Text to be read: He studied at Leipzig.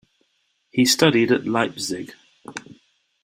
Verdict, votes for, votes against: accepted, 2, 0